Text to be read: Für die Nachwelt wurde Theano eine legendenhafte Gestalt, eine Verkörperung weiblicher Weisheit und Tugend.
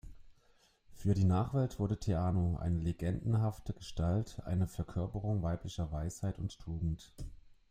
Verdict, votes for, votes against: accepted, 2, 0